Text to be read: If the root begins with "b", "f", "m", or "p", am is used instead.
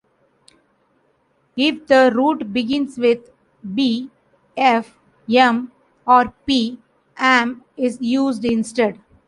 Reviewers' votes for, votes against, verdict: 1, 2, rejected